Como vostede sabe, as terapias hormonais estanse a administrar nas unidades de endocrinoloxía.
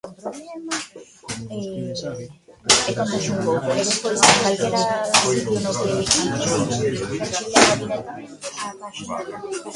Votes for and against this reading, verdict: 0, 2, rejected